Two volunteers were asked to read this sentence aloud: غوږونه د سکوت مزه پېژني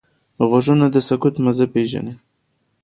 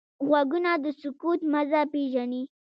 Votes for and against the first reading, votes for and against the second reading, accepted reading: 2, 0, 1, 2, first